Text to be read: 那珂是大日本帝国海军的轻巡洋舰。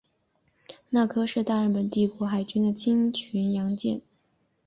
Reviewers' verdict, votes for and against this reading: rejected, 0, 2